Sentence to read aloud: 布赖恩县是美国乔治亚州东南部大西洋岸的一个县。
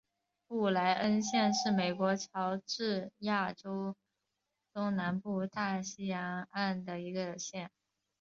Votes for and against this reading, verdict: 6, 1, accepted